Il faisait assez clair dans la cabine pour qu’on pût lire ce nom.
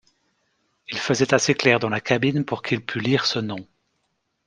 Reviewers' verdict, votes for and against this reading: rejected, 0, 2